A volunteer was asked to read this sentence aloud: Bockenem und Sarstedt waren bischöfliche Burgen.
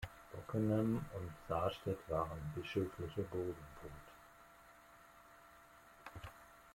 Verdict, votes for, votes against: accepted, 2, 0